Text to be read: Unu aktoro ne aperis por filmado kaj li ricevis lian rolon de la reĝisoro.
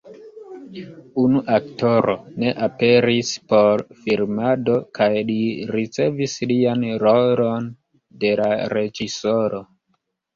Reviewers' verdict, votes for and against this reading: rejected, 1, 2